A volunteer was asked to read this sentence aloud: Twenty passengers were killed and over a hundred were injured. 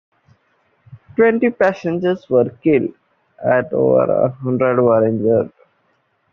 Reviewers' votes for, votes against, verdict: 2, 0, accepted